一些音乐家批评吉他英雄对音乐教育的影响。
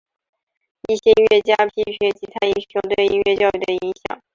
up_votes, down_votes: 2, 0